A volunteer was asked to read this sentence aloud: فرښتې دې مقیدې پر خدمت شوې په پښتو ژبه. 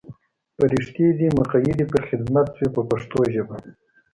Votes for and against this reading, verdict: 2, 0, accepted